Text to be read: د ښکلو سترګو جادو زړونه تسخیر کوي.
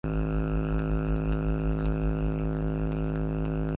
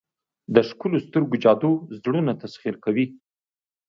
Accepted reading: second